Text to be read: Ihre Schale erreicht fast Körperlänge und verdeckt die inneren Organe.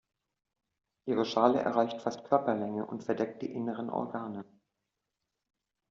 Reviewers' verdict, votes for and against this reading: rejected, 1, 2